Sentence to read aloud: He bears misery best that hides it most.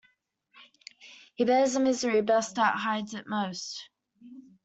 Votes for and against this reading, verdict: 0, 2, rejected